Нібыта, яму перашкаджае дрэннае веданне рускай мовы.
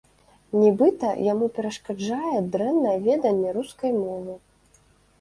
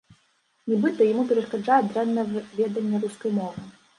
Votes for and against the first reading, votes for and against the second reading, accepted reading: 2, 0, 1, 2, first